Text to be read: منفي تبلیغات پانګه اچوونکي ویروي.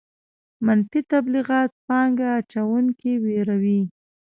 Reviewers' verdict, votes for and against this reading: rejected, 0, 2